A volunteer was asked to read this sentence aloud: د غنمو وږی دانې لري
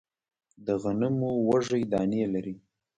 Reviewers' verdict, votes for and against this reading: rejected, 1, 2